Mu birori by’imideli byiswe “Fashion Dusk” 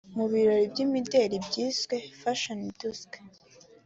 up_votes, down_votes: 2, 0